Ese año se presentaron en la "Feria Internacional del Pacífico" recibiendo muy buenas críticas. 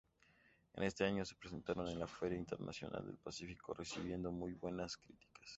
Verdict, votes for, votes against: rejected, 0, 2